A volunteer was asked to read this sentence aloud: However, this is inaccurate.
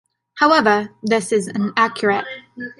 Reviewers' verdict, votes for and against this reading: accepted, 2, 0